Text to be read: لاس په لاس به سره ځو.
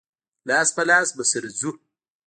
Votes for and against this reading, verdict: 1, 2, rejected